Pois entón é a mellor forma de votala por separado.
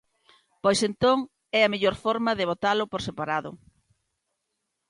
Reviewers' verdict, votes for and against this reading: rejected, 0, 2